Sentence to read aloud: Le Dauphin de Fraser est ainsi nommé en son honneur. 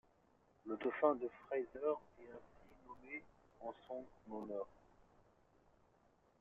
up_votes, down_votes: 2, 0